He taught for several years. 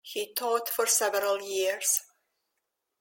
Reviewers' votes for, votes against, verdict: 2, 0, accepted